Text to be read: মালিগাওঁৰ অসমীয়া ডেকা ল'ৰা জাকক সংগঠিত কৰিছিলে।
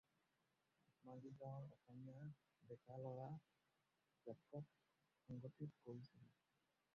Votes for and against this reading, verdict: 0, 4, rejected